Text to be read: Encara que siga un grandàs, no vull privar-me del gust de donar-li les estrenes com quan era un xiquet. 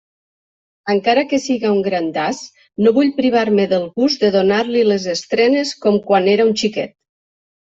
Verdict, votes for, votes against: accepted, 3, 0